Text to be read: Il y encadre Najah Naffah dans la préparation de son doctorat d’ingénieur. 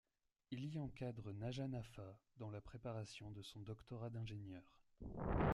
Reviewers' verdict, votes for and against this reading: rejected, 1, 2